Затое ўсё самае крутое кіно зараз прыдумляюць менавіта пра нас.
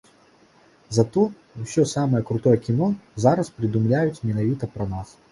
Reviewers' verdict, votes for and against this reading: rejected, 1, 2